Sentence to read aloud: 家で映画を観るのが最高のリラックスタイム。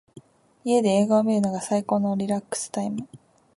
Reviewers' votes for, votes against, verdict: 3, 0, accepted